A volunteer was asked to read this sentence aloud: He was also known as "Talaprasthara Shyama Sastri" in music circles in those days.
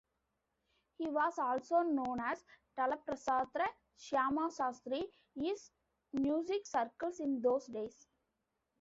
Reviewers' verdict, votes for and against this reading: rejected, 0, 2